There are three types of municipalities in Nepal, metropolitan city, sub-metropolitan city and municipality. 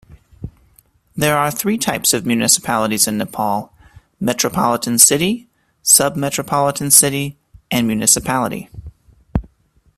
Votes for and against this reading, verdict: 2, 0, accepted